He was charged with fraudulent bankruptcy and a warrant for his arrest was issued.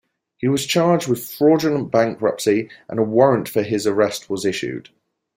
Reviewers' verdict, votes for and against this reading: accepted, 2, 0